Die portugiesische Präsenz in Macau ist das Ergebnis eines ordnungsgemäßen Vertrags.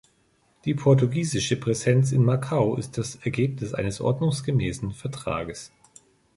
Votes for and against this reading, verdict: 3, 0, accepted